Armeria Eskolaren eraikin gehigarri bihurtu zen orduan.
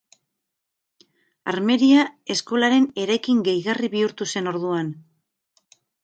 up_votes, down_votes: 6, 0